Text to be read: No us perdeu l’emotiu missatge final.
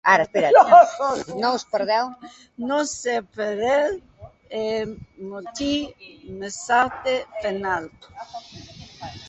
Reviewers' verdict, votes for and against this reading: rejected, 1, 2